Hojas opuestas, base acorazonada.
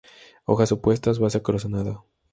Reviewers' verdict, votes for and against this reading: rejected, 0, 2